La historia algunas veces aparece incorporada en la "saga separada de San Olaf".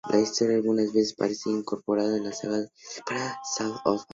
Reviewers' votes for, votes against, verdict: 0, 2, rejected